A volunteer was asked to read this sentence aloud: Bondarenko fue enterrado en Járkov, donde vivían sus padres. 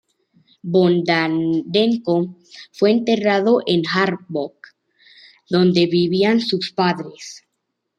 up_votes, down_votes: 1, 2